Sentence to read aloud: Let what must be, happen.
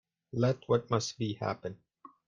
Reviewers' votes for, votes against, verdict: 2, 0, accepted